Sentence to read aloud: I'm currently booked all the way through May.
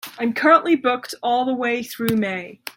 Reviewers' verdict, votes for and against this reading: accepted, 2, 0